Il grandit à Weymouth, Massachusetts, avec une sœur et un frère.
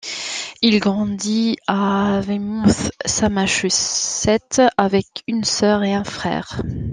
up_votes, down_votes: 0, 3